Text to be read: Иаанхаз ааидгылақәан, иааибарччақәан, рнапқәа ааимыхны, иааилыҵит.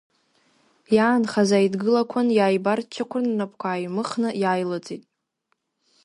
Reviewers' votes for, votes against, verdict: 2, 1, accepted